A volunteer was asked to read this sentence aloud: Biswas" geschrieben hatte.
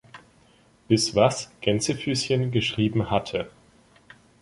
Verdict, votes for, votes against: rejected, 1, 2